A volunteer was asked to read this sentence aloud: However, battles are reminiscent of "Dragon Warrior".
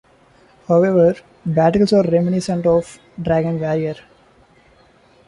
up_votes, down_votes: 1, 2